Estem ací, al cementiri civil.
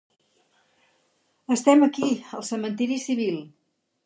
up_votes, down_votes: 4, 2